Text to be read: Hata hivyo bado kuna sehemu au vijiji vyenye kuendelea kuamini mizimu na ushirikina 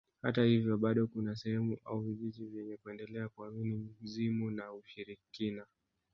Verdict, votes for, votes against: rejected, 0, 2